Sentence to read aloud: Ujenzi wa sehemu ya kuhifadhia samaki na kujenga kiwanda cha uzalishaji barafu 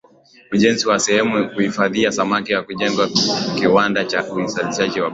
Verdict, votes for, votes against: accepted, 2, 0